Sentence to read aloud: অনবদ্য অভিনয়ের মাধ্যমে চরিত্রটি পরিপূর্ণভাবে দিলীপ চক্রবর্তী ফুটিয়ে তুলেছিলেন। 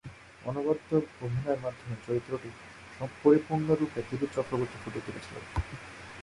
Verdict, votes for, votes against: rejected, 4, 4